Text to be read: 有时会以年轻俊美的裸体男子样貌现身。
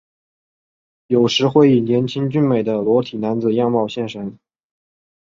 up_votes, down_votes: 5, 0